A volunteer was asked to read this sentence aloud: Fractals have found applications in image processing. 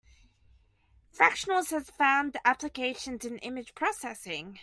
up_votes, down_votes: 0, 2